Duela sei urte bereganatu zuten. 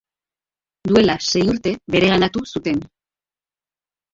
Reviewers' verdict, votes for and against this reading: rejected, 0, 2